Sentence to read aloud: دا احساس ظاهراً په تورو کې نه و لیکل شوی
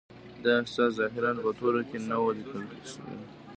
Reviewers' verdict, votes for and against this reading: rejected, 0, 2